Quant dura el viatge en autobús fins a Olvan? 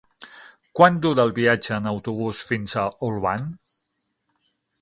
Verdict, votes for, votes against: accepted, 6, 0